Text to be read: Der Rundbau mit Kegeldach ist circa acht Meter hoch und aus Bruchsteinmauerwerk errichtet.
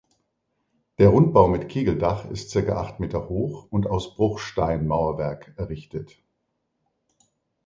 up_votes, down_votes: 2, 0